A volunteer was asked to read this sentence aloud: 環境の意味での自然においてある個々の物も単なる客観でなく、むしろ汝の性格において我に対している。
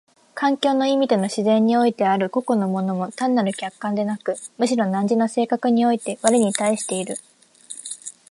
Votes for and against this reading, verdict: 2, 0, accepted